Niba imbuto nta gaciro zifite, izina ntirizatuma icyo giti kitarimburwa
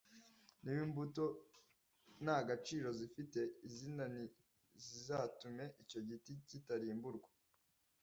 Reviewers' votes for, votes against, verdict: 1, 2, rejected